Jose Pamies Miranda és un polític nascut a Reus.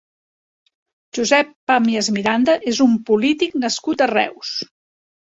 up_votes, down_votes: 3, 1